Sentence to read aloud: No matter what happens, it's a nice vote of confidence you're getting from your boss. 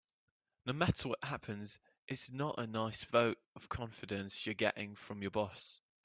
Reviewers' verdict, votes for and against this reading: rejected, 0, 2